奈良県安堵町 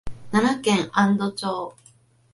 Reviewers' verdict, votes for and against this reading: accepted, 2, 0